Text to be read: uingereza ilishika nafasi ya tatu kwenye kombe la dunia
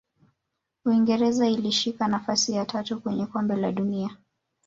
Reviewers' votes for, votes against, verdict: 0, 2, rejected